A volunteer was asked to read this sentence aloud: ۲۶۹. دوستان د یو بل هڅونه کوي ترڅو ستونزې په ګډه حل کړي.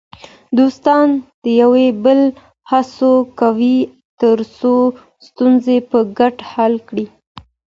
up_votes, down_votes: 0, 2